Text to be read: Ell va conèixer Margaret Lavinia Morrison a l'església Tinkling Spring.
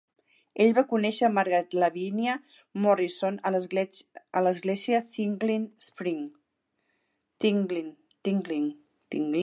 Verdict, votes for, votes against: rejected, 0, 3